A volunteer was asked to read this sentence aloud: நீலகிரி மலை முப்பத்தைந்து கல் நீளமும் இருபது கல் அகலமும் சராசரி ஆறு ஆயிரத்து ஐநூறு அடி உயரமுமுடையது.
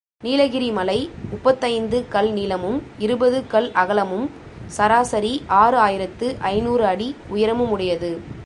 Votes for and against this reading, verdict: 2, 0, accepted